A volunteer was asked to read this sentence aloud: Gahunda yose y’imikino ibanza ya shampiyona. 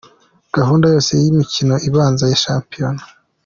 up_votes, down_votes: 2, 0